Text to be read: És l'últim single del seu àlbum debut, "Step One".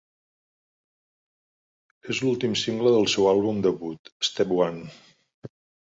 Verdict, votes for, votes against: rejected, 0, 2